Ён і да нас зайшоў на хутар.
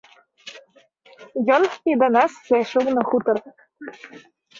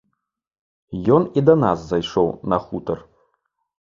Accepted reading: second